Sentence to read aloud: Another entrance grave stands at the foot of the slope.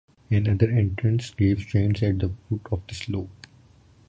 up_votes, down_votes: 2, 0